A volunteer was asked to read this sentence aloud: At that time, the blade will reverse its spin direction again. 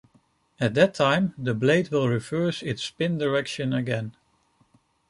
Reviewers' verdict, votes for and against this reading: accepted, 2, 0